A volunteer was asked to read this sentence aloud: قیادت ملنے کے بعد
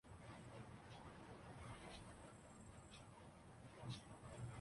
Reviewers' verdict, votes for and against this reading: rejected, 0, 2